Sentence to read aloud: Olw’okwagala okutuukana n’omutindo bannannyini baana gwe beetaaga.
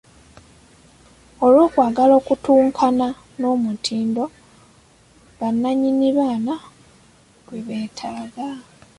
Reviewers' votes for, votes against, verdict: 1, 2, rejected